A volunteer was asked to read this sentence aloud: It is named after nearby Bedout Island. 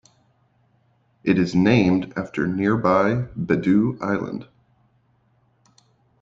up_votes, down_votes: 2, 0